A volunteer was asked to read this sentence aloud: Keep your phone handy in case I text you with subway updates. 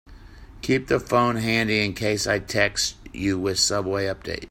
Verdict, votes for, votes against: rejected, 1, 2